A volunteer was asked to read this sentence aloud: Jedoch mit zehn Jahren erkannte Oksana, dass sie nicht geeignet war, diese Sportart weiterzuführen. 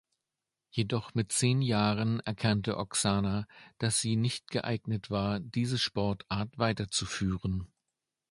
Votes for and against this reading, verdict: 2, 0, accepted